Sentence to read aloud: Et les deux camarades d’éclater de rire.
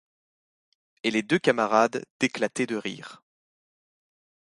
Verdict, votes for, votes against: accepted, 2, 0